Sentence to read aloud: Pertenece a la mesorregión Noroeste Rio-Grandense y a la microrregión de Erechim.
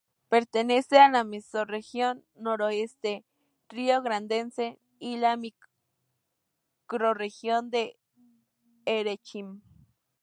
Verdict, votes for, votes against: rejected, 0, 2